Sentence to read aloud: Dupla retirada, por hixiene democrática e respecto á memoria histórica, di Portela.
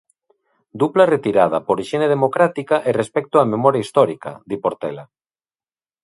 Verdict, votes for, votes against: accepted, 2, 0